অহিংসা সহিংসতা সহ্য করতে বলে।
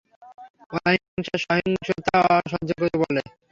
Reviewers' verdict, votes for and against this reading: rejected, 0, 3